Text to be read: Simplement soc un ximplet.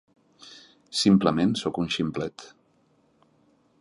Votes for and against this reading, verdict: 3, 0, accepted